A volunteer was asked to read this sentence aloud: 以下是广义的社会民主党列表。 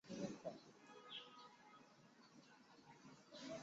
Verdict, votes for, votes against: rejected, 0, 3